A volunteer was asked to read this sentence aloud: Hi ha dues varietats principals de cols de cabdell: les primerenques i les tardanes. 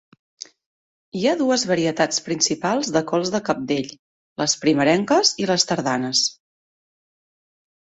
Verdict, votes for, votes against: accepted, 2, 0